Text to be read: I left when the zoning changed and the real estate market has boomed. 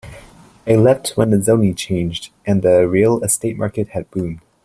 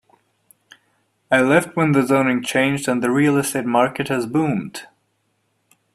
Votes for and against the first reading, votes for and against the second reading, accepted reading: 1, 2, 2, 0, second